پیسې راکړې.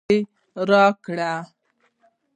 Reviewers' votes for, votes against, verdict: 1, 2, rejected